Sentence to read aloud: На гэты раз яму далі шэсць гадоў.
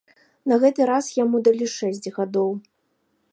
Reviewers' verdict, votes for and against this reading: rejected, 1, 3